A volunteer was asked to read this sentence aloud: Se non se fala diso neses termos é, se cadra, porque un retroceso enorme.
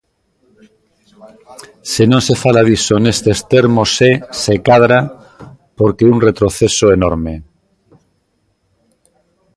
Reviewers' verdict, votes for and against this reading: rejected, 0, 2